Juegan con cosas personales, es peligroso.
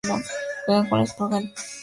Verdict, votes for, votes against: rejected, 0, 2